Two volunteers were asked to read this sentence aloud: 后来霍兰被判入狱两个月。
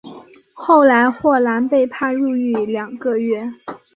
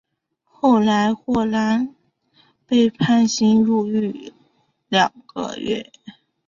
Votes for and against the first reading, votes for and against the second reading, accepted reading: 3, 0, 1, 2, first